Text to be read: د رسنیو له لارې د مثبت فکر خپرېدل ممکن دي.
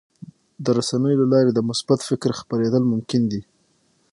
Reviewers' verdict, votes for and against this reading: accepted, 6, 0